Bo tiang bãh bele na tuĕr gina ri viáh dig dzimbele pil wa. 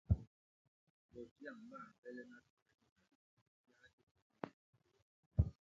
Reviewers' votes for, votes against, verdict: 0, 2, rejected